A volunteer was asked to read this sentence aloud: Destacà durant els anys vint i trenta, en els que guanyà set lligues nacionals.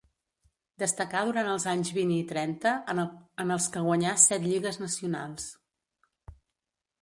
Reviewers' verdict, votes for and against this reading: rejected, 0, 2